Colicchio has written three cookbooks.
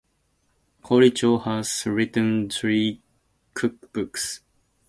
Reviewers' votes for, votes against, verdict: 0, 4, rejected